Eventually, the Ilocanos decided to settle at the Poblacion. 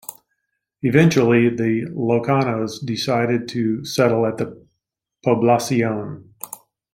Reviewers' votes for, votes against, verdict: 2, 1, accepted